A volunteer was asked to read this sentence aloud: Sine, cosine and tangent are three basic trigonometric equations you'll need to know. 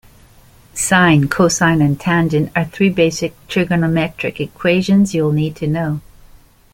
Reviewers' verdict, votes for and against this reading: accepted, 2, 0